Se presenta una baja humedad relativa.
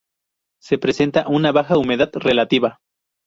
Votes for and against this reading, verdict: 2, 0, accepted